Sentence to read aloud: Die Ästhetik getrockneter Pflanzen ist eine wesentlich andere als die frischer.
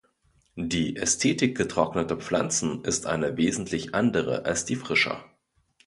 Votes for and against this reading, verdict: 2, 0, accepted